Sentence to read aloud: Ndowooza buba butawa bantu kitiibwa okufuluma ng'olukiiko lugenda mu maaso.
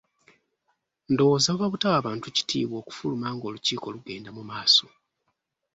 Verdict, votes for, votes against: accepted, 2, 0